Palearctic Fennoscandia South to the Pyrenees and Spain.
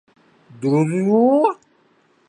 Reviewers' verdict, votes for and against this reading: rejected, 0, 2